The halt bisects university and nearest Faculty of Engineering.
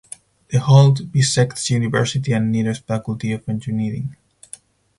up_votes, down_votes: 2, 2